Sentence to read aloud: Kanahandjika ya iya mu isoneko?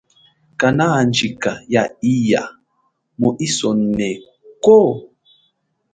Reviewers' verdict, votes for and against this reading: accepted, 2, 0